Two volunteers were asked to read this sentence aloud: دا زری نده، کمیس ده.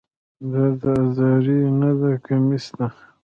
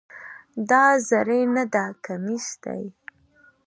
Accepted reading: second